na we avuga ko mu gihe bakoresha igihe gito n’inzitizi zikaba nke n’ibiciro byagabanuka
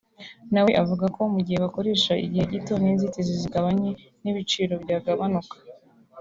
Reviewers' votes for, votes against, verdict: 2, 0, accepted